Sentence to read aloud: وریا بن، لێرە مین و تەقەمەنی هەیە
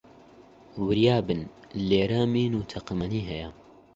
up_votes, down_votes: 25, 0